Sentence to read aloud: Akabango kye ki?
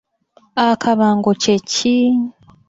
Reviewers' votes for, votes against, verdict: 2, 1, accepted